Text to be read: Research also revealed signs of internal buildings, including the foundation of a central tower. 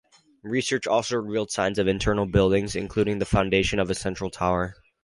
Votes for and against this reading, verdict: 0, 2, rejected